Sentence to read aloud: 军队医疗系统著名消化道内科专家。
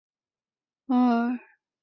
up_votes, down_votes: 1, 2